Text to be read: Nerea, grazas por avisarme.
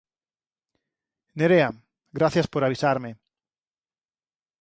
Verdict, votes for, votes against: rejected, 0, 4